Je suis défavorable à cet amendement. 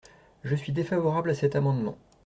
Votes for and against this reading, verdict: 2, 0, accepted